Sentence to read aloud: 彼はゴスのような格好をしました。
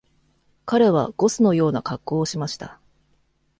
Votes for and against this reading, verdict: 2, 0, accepted